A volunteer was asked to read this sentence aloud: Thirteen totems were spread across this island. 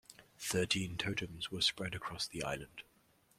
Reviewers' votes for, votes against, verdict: 0, 2, rejected